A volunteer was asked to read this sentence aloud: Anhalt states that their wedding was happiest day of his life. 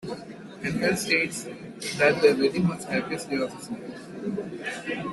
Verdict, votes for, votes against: rejected, 0, 2